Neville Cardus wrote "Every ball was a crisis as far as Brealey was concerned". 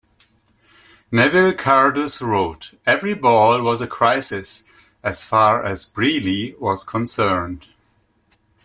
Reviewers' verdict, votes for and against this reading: accepted, 2, 0